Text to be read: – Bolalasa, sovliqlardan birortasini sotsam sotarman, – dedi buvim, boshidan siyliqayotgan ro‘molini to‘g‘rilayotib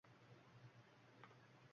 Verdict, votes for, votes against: rejected, 0, 2